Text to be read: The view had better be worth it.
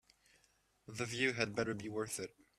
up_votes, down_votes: 2, 0